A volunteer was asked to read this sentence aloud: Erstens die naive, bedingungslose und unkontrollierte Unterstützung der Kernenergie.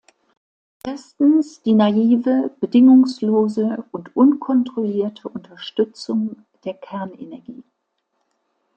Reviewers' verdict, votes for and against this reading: accepted, 2, 0